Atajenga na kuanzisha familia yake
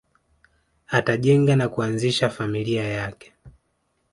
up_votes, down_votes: 1, 2